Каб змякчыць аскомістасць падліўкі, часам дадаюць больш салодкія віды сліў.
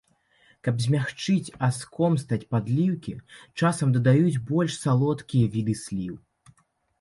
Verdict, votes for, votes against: rejected, 0, 2